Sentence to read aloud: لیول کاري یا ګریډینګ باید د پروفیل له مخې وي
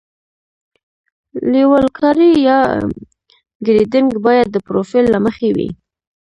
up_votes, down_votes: 0, 2